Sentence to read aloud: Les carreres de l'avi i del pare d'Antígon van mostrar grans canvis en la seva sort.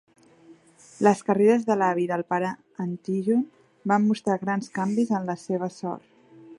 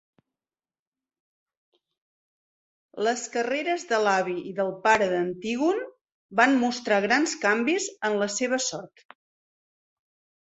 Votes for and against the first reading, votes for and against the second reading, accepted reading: 0, 3, 3, 0, second